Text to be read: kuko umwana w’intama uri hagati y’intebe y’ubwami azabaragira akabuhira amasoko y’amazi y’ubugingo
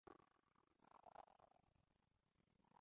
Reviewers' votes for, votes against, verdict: 0, 2, rejected